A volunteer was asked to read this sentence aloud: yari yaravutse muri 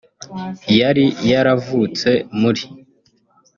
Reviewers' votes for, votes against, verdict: 0, 2, rejected